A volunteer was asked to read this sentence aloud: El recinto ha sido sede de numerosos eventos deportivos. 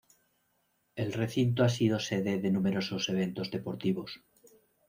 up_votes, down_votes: 2, 0